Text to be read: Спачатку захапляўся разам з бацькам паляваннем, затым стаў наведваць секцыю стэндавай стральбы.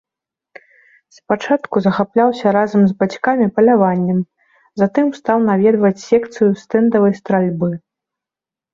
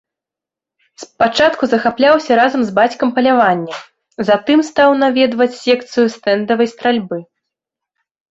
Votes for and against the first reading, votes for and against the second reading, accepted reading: 0, 2, 2, 0, second